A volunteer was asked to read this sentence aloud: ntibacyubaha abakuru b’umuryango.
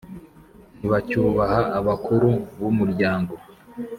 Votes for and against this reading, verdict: 5, 0, accepted